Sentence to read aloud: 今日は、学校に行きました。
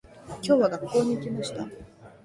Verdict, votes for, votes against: accepted, 2, 0